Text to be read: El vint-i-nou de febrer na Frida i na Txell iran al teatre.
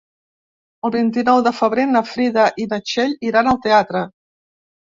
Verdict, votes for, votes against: accepted, 3, 0